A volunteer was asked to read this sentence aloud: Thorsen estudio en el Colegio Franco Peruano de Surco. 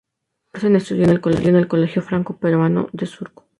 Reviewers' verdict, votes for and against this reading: rejected, 0, 2